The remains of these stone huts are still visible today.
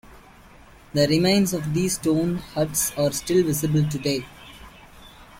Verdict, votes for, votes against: accepted, 2, 0